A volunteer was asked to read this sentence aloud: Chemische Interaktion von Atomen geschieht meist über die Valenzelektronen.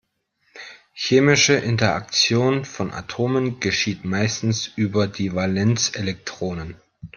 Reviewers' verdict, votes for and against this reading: rejected, 1, 2